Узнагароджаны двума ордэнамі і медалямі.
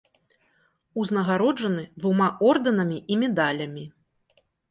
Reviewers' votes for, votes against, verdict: 1, 2, rejected